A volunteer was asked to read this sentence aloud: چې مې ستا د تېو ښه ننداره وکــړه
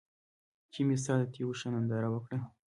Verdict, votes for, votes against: accepted, 2, 1